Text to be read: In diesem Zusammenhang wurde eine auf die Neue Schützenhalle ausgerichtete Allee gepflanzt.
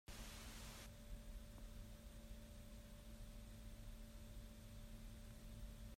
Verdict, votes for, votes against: rejected, 0, 2